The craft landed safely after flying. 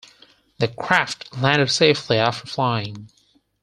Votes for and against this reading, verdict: 4, 0, accepted